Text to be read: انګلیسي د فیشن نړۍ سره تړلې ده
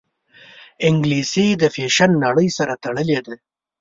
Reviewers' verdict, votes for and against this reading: accepted, 2, 0